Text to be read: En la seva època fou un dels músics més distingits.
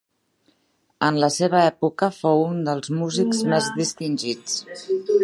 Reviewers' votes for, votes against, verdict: 1, 2, rejected